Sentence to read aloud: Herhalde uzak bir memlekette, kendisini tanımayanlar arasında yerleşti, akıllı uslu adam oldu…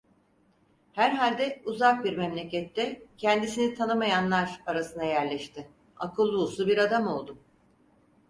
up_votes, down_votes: 2, 4